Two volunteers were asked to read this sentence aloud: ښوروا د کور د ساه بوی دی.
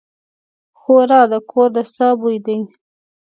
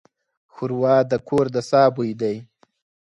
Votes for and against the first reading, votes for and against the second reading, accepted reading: 1, 2, 4, 0, second